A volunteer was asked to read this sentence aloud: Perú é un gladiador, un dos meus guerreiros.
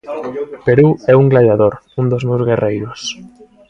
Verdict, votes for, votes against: rejected, 1, 2